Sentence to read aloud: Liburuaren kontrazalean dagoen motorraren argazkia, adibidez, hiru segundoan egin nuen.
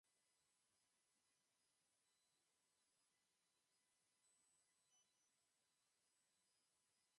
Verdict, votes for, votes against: rejected, 0, 4